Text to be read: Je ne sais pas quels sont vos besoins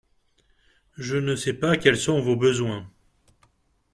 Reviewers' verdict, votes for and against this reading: accepted, 2, 0